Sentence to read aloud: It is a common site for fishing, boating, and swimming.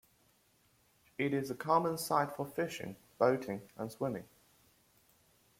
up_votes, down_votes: 0, 2